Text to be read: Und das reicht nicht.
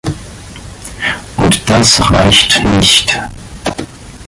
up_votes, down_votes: 3, 1